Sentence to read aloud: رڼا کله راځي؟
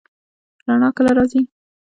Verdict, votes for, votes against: rejected, 0, 2